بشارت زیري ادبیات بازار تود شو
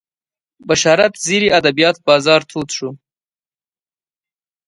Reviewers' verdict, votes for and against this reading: accepted, 2, 0